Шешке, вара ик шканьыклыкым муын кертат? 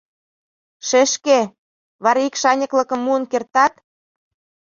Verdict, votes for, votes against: rejected, 0, 2